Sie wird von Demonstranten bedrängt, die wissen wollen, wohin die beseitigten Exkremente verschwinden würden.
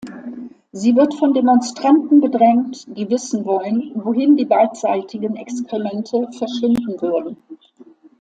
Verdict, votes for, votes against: rejected, 1, 2